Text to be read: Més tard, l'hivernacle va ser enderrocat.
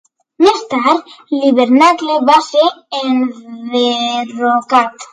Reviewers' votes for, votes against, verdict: 2, 1, accepted